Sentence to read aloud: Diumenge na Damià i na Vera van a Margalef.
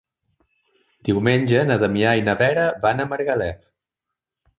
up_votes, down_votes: 3, 0